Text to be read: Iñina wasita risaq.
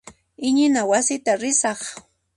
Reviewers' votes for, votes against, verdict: 2, 0, accepted